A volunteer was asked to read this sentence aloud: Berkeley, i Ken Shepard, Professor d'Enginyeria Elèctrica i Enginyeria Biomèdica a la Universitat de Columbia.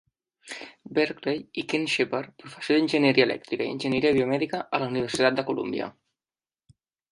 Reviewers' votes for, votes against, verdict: 0, 2, rejected